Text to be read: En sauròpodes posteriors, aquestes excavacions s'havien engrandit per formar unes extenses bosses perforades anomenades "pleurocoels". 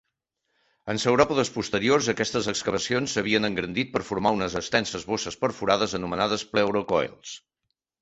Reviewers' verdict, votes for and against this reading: accepted, 2, 0